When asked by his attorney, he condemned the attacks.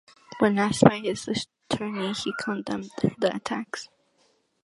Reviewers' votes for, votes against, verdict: 2, 0, accepted